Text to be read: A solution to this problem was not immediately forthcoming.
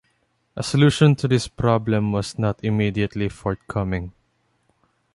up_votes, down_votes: 2, 0